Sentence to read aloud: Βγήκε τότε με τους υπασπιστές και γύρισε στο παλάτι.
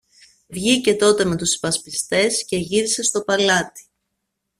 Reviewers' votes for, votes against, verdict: 2, 0, accepted